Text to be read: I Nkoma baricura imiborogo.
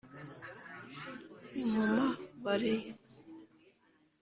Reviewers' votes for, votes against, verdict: 0, 3, rejected